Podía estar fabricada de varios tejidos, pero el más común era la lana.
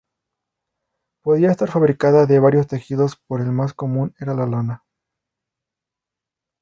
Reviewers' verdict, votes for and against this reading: rejected, 0, 2